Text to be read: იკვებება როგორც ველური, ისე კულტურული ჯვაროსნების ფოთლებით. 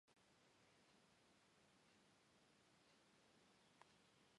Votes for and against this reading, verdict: 2, 1, accepted